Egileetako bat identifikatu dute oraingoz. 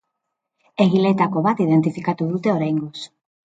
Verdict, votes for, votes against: accepted, 2, 0